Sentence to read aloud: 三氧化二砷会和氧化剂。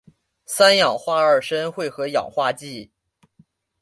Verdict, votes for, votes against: accepted, 2, 1